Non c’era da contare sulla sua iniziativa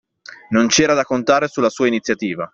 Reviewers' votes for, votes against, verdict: 2, 0, accepted